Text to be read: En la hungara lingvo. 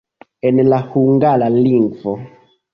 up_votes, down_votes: 0, 2